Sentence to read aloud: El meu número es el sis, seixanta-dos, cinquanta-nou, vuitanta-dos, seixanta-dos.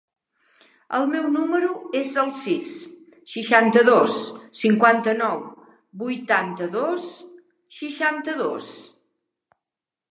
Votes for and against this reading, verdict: 0, 2, rejected